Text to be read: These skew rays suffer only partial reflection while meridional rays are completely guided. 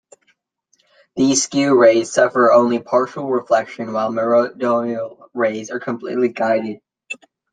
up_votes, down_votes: 1, 2